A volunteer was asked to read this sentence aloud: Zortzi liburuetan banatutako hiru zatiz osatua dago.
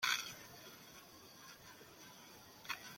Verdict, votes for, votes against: rejected, 0, 2